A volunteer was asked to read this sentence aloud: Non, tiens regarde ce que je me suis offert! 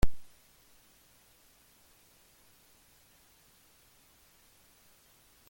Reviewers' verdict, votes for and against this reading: rejected, 0, 2